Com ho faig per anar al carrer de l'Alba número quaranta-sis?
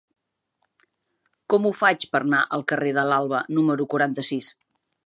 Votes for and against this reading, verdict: 0, 2, rejected